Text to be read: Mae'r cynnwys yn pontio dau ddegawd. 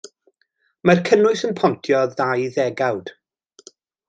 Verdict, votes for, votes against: rejected, 1, 2